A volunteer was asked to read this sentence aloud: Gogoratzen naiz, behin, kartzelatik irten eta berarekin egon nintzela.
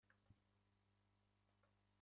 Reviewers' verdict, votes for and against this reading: rejected, 0, 2